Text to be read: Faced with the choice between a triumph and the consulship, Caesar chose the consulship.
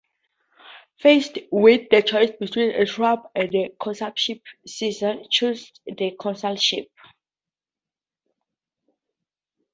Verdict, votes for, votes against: rejected, 0, 2